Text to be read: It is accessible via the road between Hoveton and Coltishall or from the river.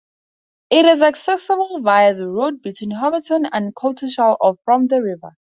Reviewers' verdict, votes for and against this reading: rejected, 0, 2